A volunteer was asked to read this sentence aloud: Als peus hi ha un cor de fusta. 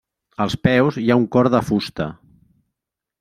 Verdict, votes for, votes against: accepted, 3, 0